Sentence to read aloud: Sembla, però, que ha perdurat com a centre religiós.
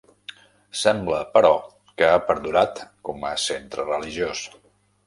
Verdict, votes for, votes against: rejected, 1, 2